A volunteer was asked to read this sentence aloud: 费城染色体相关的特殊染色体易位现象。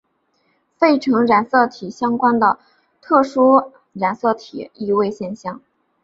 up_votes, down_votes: 2, 0